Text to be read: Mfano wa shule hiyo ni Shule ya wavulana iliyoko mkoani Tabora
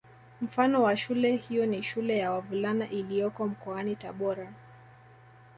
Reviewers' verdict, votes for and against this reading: accepted, 2, 0